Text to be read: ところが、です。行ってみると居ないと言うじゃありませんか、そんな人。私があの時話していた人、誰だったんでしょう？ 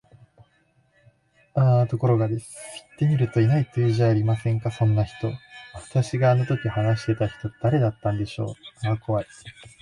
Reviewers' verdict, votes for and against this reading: rejected, 1, 2